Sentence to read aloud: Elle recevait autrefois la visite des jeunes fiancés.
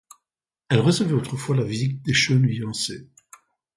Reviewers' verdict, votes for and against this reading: accepted, 2, 0